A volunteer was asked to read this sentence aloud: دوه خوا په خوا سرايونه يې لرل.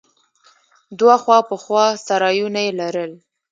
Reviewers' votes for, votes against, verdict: 0, 2, rejected